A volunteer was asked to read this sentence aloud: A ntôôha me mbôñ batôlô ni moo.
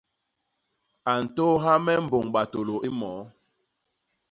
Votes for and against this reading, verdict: 2, 0, accepted